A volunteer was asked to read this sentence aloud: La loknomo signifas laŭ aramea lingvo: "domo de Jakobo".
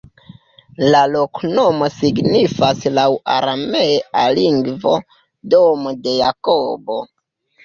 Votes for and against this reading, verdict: 1, 2, rejected